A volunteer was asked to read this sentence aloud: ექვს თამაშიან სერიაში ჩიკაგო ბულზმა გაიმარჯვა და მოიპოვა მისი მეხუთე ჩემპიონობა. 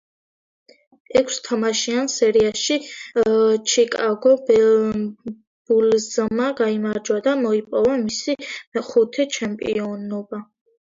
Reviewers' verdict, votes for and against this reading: accepted, 2, 0